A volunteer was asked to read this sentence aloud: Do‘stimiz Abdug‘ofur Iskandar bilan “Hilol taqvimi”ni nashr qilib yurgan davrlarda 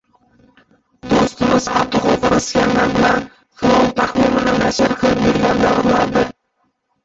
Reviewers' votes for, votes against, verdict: 0, 2, rejected